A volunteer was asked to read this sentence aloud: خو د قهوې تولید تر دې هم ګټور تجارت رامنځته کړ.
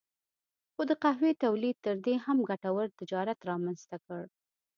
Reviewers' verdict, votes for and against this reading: accepted, 2, 0